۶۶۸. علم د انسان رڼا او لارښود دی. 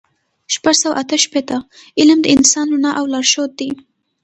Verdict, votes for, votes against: rejected, 0, 2